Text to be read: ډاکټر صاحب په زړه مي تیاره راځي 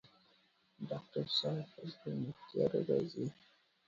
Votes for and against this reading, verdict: 1, 2, rejected